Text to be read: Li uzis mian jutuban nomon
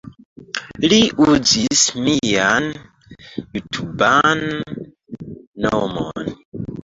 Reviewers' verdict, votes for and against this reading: rejected, 1, 3